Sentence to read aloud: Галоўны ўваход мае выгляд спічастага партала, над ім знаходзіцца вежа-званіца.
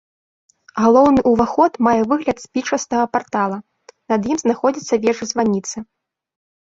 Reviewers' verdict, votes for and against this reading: rejected, 1, 2